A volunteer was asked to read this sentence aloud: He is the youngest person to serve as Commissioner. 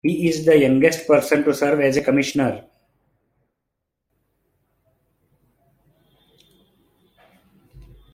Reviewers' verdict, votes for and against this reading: accepted, 2, 0